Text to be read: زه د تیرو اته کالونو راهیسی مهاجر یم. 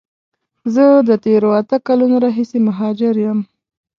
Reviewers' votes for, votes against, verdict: 2, 0, accepted